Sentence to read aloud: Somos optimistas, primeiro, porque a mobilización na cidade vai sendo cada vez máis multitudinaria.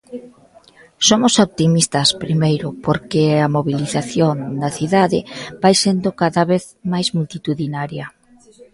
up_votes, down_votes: 1, 2